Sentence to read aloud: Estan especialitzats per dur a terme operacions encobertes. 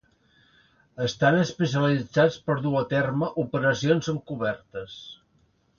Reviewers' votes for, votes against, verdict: 2, 0, accepted